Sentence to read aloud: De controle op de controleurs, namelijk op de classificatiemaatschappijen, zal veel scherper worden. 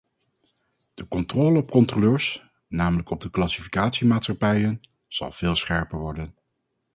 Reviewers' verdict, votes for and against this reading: rejected, 0, 2